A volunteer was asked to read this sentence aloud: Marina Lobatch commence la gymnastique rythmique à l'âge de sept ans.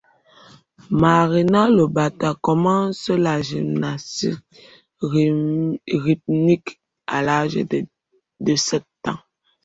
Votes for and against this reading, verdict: 1, 2, rejected